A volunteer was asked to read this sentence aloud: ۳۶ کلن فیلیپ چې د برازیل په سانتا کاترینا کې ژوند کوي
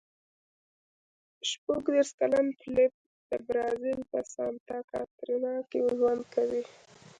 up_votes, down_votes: 0, 2